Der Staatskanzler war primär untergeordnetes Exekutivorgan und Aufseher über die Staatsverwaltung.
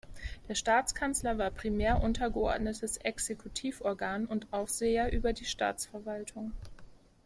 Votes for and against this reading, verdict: 1, 2, rejected